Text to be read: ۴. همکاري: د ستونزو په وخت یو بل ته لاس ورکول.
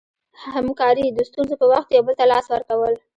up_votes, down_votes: 0, 2